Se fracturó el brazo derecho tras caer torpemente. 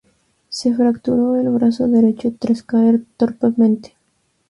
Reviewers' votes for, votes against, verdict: 0, 2, rejected